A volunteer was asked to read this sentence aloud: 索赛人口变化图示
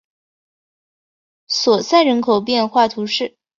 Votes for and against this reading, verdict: 4, 0, accepted